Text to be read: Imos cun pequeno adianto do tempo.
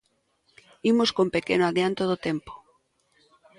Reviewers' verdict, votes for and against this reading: accepted, 2, 0